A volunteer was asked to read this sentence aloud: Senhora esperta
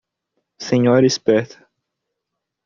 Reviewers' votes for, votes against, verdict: 2, 0, accepted